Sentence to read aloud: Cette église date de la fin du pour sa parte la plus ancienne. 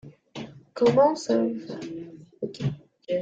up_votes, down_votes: 0, 2